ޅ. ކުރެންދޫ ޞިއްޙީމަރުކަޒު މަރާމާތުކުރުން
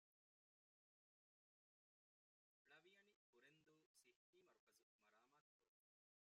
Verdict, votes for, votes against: rejected, 0, 2